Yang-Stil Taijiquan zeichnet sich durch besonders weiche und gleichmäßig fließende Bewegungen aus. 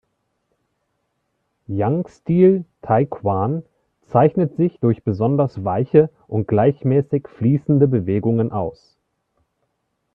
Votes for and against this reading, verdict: 1, 2, rejected